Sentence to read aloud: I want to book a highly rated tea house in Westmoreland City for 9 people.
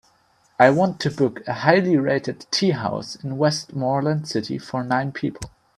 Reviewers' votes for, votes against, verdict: 0, 2, rejected